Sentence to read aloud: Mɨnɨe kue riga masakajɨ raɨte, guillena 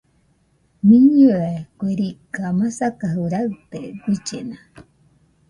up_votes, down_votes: 2, 0